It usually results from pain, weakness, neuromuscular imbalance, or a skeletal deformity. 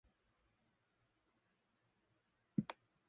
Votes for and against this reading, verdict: 0, 2, rejected